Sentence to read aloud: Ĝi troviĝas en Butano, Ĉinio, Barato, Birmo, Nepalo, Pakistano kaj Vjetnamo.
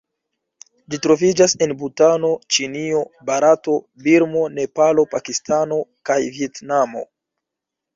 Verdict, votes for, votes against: accepted, 2, 1